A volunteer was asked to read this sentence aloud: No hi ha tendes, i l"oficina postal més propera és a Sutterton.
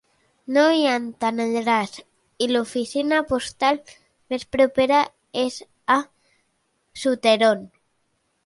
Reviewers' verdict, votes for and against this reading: rejected, 0, 2